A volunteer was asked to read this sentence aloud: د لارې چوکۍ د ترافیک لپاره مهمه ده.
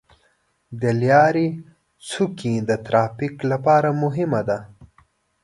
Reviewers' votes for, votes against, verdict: 0, 2, rejected